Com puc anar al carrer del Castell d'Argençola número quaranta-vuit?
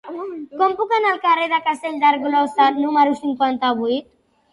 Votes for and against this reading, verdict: 0, 2, rejected